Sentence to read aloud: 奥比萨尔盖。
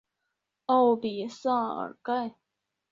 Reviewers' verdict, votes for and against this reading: accepted, 3, 0